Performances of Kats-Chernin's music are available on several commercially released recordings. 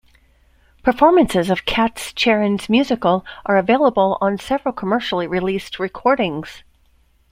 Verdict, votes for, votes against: rejected, 1, 2